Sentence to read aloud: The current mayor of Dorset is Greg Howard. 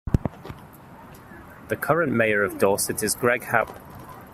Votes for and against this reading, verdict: 0, 2, rejected